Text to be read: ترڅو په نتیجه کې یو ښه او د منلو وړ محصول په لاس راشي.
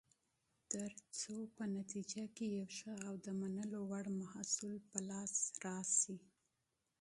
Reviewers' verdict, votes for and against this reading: rejected, 0, 2